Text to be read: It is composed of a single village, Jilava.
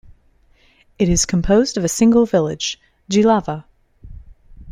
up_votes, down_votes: 3, 0